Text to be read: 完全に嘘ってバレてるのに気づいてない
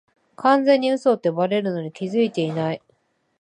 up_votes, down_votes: 1, 2